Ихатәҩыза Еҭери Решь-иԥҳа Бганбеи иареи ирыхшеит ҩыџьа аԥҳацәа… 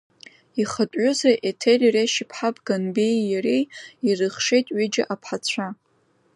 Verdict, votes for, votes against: rejected, 1, 2